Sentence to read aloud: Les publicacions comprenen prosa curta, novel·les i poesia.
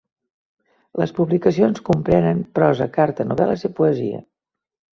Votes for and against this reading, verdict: 1, 2, rejected